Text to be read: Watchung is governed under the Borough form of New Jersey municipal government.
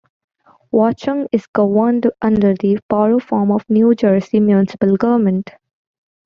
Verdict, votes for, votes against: accepted, 2, 1